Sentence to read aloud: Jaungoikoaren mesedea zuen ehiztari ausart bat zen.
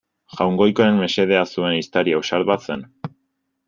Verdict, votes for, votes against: accepted, 2, 0